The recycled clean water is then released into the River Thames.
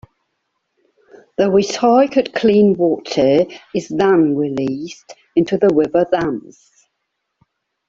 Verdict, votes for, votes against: rejected, 0, 2